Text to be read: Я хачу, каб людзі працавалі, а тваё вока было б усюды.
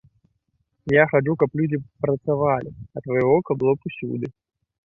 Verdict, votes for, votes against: rejected, 0, 3